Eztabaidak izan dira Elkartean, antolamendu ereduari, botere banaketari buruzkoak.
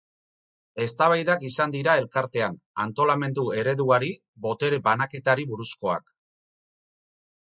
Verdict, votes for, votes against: rejected, 2, 2